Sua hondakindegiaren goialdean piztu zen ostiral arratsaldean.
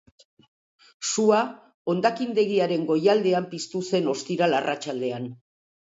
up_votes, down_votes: 2, 0